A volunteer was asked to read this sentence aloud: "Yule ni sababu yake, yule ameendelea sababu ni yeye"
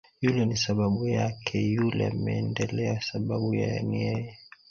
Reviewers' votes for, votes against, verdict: 1, 2, rejected